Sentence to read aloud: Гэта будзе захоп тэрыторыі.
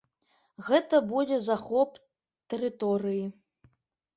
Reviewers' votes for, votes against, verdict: 2, 0, accepted